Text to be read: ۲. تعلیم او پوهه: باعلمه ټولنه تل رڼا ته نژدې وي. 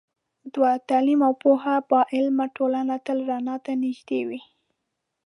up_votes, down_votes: 0, 2